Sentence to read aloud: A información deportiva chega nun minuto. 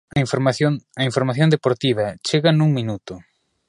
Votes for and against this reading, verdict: 1, 2, rejected